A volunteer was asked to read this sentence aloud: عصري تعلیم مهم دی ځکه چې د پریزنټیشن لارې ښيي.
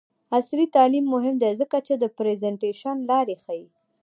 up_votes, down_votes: 1, 2